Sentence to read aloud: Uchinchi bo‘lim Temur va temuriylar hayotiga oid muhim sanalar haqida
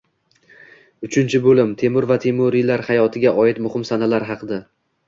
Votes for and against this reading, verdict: 2, 0, accepted